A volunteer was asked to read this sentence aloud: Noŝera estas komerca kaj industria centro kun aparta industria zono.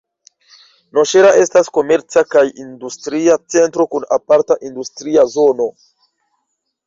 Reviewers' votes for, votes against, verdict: 1, 2, rejected